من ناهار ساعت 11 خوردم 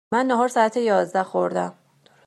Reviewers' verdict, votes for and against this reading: rejected, 0, 2